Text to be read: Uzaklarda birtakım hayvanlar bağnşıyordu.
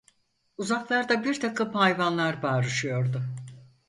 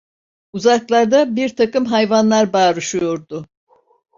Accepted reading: second